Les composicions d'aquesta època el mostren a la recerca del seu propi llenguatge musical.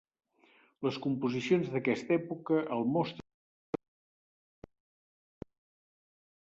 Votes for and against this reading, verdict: 0, 2, rejected